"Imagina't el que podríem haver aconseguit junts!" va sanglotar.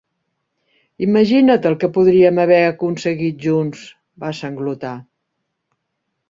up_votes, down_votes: 6, 0